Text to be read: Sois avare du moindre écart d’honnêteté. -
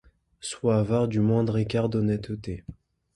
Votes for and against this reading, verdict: 2, 0, accepted